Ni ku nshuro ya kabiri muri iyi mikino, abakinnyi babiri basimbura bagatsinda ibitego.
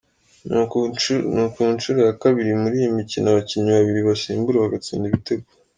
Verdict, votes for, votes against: rejected, 2, 3